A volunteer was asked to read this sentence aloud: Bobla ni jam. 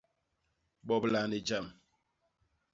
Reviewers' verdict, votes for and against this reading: accepted, 2, 0